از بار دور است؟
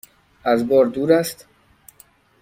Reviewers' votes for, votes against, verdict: 2, 0, accepted